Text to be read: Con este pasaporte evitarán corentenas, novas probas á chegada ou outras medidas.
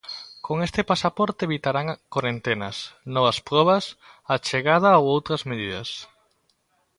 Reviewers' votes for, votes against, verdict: 2, 0, accepted